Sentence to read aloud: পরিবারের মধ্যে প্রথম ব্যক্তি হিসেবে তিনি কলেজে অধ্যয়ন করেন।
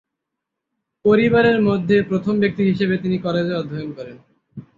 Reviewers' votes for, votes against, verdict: 3, 3, rejected